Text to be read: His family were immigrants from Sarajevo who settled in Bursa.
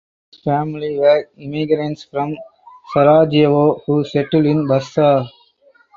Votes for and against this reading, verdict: 0, 2, rejected